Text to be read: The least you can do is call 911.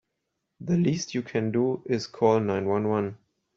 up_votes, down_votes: 0, 2